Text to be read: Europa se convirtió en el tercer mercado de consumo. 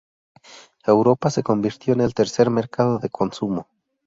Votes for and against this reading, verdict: 0, 2, rejected